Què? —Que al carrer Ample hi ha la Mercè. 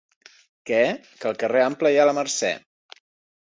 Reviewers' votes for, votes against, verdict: 2, 1, accepted